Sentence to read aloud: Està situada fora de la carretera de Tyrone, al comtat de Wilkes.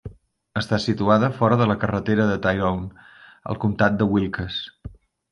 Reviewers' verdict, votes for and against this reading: accepted, 2, 1